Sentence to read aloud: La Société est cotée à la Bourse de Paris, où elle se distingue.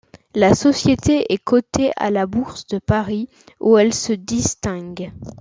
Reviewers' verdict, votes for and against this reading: accepted, 2, 0